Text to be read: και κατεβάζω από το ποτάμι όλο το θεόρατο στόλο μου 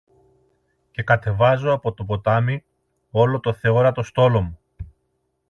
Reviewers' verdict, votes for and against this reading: accepted, 2, 0